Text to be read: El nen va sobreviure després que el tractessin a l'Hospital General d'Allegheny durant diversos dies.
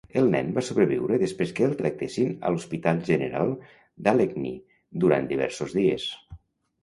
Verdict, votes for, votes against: accepted, 3, 0